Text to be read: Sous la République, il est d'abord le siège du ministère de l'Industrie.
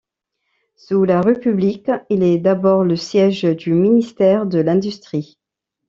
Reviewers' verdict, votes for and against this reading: rejected, 1, 2